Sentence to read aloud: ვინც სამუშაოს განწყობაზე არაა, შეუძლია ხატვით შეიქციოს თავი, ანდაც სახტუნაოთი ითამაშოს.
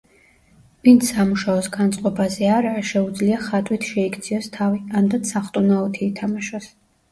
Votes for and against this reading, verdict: 2, 1, accepted